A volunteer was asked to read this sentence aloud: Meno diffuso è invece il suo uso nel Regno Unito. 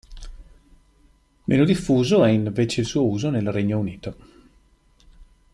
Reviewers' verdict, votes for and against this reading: accepted, 2, 0